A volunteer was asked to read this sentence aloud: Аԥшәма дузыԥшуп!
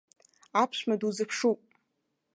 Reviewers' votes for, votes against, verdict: 1, 2, rejected